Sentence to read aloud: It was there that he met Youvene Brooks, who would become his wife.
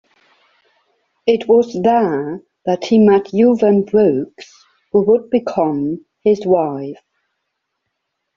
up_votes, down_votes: 2, 0